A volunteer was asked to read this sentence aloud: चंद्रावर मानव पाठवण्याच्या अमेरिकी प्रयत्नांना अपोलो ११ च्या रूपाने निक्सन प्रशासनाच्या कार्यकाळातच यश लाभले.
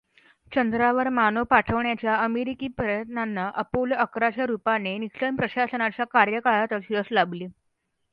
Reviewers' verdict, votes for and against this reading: rejected, 0, 2